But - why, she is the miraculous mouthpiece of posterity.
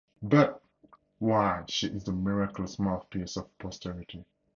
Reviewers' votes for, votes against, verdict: 2, 4, rejected